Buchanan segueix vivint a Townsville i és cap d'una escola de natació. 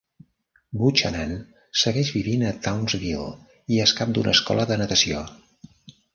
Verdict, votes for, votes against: rejected, 1, 2